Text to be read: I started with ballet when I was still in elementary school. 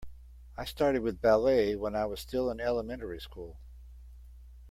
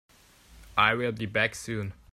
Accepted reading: first